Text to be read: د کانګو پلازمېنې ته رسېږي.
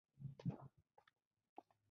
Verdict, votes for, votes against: accepted, 2, 1